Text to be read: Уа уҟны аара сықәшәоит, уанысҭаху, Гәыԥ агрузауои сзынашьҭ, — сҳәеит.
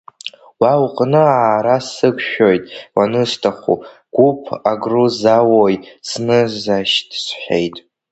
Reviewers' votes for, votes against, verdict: 2, 1, accepted